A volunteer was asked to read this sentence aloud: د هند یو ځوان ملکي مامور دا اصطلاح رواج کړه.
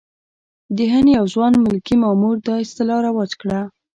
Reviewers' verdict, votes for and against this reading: accepted, 2, 0